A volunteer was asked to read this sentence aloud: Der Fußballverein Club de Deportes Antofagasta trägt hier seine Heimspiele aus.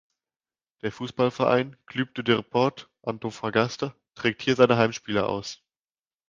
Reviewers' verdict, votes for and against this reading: rejected, 1, 2